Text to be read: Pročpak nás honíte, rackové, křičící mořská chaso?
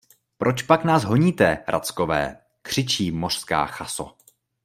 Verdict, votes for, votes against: rejected, 0, 2